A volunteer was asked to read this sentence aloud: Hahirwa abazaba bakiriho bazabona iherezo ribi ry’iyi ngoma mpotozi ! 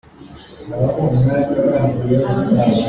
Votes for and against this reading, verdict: 0, 2, rejected